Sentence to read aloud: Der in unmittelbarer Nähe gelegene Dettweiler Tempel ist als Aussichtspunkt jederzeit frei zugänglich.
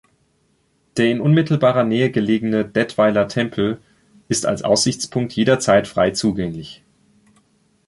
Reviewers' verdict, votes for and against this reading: rejected, 1, 2